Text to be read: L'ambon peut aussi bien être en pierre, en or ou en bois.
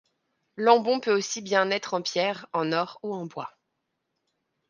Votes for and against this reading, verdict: 3, 0, accepted